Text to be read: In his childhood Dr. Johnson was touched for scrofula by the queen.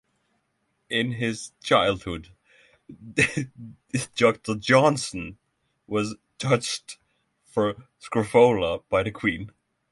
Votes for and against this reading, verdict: 0, 6, rejected